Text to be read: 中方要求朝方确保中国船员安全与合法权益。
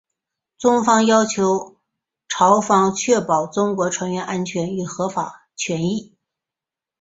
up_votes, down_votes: 5, 1